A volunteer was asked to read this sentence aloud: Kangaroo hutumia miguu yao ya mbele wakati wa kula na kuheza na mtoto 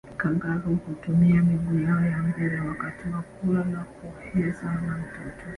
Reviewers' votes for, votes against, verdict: 1, 2, rejected